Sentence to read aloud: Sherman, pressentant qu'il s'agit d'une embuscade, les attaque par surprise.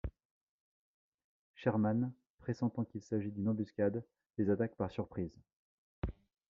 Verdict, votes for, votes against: rejected, 1, 2